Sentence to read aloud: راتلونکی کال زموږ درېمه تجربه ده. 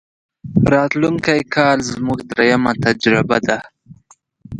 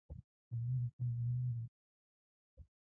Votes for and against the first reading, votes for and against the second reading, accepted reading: 2, 0, 0, 2, first